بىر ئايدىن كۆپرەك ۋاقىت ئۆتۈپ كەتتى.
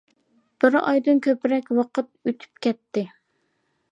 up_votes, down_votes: 2, 0